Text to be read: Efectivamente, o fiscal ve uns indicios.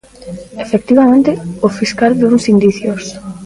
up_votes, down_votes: 1, 2